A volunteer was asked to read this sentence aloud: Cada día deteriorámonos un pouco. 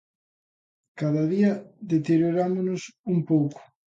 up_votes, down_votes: 2, 0